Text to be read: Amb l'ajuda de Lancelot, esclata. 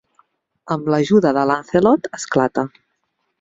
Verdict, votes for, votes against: accepted, 2, 1